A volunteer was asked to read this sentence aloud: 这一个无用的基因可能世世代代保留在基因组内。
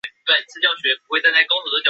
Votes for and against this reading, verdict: 0, 2, rejected